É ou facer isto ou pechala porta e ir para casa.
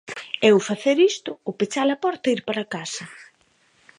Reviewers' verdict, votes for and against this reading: accepted, 2, 1